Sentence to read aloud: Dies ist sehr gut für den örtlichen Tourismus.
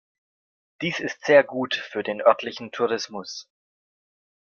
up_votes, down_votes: 3, 0